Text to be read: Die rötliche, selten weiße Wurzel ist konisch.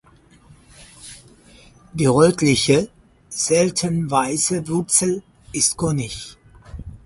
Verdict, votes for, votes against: rejected, 0, 4